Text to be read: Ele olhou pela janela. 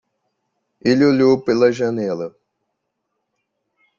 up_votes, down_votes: 2, 0